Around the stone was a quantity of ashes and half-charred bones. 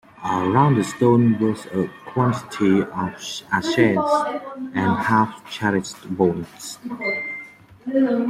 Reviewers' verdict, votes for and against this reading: rejected, 1, 2